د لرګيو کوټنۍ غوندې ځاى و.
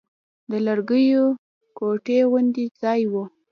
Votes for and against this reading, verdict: 1, 2, rejected